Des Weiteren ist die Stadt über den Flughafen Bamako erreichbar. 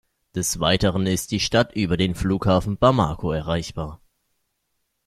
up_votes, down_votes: 2, 0